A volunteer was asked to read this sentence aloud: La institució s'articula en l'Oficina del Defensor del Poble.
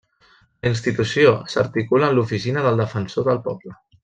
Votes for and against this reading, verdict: 1, 2, rejected